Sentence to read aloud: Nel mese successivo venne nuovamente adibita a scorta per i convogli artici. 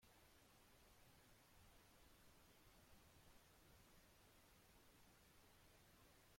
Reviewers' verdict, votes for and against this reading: rejected, 0, 2